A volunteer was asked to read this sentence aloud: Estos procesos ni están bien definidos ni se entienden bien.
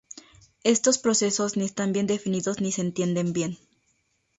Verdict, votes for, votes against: rejected, 0, 2